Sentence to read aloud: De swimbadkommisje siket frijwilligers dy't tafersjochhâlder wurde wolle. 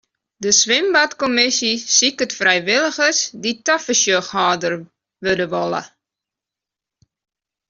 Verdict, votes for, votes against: accepted, 2, 1